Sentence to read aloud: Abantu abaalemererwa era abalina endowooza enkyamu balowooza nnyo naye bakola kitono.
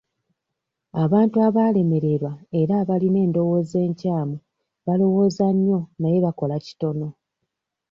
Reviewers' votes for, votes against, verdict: 2, 1, accepted